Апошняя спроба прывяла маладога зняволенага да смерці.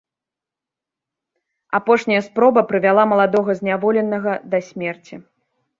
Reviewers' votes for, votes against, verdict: 2, 0, accepted